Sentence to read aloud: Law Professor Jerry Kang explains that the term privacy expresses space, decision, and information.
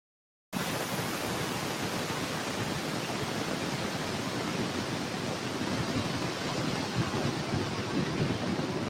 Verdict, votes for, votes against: rejected, 0, 2